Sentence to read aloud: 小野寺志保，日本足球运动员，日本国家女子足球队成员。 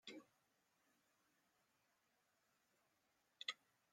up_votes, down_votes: 0, 2